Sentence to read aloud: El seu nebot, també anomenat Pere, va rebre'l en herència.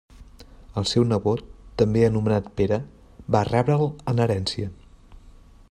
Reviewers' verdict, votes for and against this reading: accepted, 3, 0